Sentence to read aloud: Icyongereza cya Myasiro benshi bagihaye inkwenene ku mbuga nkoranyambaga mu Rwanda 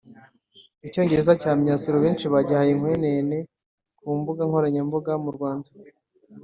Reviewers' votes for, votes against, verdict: 2, 3, rejected